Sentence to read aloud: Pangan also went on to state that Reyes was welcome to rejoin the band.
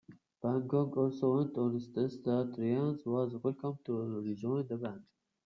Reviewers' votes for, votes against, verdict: 0, 2, rejected